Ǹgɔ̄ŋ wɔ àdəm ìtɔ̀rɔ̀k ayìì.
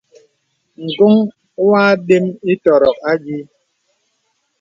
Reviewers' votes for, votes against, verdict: 2, 0, accepted